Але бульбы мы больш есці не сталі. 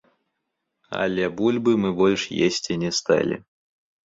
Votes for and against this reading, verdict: 0, 2, rejected